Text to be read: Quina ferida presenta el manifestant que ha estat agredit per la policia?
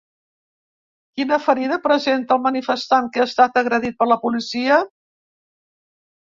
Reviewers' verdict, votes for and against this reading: accepted, 2, 0